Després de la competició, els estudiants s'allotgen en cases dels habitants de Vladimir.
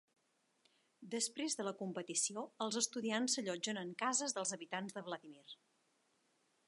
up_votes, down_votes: 7, 0